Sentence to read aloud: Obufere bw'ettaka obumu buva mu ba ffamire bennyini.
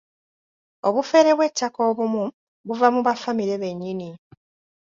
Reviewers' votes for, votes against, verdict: 2, 0, accepted